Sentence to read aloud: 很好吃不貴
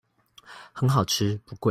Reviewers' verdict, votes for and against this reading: rejected, 0, 2